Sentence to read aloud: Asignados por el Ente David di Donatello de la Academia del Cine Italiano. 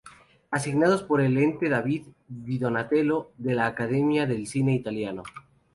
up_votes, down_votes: 2, 0